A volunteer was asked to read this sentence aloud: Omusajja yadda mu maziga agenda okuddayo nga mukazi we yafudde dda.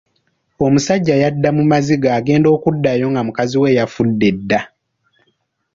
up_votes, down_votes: 1, 2